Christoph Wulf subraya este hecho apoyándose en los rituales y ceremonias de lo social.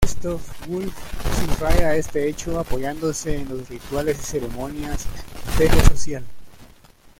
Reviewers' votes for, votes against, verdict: 1, 2, rejected